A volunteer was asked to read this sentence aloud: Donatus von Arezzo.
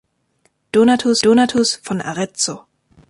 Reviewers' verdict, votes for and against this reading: rejected, 0, 2